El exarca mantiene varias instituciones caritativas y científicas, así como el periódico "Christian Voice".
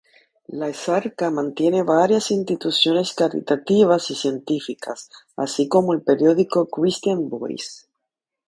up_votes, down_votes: 0, 2